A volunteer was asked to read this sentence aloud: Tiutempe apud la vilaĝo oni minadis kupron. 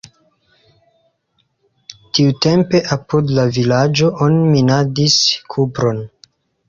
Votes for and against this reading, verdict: 2, 0, accepted